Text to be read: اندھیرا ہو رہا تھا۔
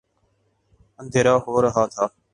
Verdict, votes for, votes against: accepted, 2, 0